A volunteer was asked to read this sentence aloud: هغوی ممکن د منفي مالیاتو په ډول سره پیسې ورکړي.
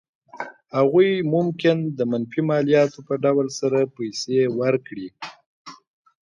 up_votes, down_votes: 2, 0